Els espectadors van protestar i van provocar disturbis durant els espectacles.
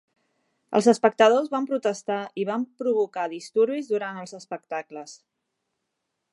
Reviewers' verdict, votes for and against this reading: accepted, 4, 0